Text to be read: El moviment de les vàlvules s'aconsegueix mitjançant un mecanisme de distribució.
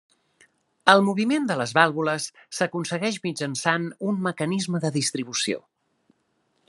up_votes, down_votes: 3, 0